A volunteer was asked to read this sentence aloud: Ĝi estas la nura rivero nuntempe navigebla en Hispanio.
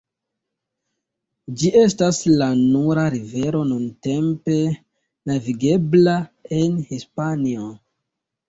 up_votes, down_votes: 1, 2